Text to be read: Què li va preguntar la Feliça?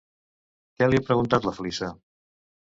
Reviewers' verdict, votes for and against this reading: rejected, 0, 2